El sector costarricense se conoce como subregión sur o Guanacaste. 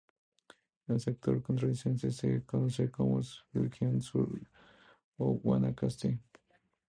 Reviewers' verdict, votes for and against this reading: accepted, 2, 0